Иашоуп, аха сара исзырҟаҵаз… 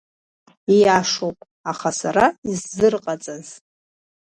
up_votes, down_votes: 1, 2